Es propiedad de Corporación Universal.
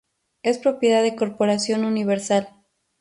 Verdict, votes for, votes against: accepted, 2, 0